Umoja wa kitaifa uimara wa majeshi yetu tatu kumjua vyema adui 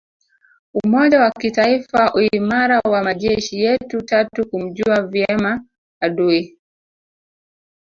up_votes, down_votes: 0, 2